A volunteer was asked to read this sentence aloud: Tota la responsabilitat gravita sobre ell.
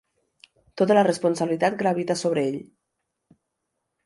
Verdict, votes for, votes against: accepted, 2, 0